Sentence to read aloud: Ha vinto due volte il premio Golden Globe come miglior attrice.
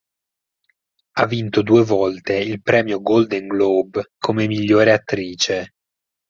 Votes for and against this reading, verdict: 4, 0, accepted